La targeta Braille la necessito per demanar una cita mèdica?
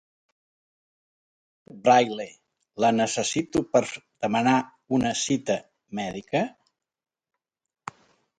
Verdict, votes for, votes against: rejected, 0, 2